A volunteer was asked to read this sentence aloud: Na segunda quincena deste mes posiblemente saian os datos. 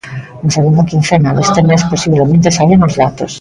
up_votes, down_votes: 1, 2